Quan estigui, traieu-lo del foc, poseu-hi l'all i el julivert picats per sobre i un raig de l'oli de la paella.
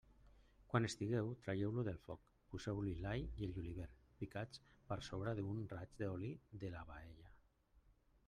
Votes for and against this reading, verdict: 1, 2, rejected